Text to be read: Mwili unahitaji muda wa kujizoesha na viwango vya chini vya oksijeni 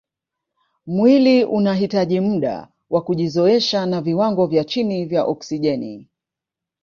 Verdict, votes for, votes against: rejected, 1, 2